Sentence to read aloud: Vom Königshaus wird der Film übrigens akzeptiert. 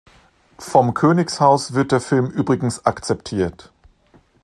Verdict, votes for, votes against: accepted, 2, 0